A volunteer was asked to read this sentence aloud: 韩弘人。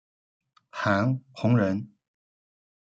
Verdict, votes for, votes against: accepted, 2, 0